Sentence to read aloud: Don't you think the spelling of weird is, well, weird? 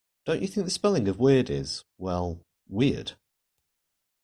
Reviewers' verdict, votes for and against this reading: rejected, 1, 2